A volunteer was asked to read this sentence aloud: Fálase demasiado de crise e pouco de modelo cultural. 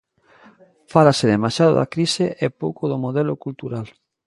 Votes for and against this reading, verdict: 0, 2, rejected